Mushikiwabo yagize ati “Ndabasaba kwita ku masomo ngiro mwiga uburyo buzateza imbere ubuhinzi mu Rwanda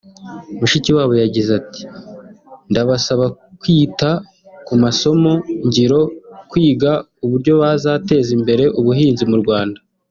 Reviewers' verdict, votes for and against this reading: rejected, 1, 2